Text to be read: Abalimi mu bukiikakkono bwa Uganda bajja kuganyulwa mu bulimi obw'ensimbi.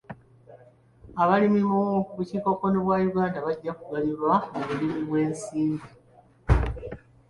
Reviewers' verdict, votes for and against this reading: accepted, 2, 1